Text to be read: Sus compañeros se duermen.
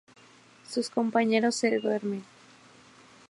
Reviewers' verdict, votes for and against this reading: accepted, 2, 0